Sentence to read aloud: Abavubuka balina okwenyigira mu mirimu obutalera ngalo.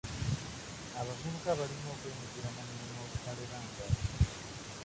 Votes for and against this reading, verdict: 0, 2, rejected